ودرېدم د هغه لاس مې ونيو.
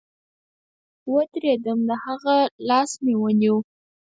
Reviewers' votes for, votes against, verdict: 2, 4, rejected